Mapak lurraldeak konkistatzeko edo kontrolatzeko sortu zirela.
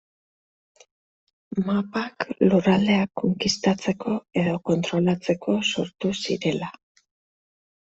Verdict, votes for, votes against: accepted, 2, 0